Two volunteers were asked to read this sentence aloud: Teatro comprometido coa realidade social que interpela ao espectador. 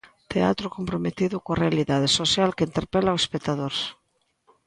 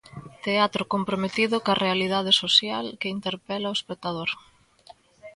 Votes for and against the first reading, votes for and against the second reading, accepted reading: 2, 0, 1, 2, first